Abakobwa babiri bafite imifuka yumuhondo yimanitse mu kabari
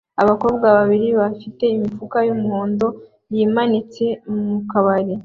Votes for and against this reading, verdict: 2, 0, accepted